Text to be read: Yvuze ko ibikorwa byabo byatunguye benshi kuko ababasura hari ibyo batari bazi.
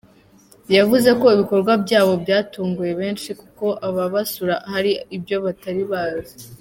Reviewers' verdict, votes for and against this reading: accepted, 2, 0